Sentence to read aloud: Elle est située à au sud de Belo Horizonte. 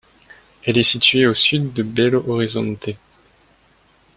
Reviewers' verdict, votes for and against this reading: rejected, 1, 2